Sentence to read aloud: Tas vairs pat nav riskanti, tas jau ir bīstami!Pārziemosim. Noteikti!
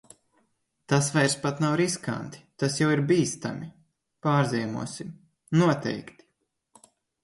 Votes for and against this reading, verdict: 2, 0, accepted